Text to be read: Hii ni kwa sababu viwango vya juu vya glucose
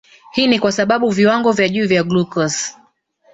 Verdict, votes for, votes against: rejected, 1, 2